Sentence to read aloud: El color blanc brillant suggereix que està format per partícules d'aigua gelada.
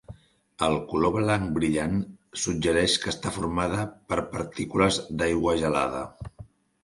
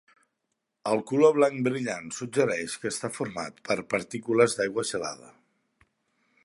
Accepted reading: second